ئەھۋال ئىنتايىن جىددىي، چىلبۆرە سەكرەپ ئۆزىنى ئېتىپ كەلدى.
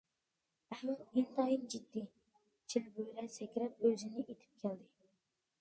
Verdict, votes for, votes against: rejected, 0, 2